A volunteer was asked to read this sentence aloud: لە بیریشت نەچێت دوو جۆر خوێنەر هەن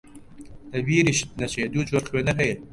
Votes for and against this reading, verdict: 0, 2, rejected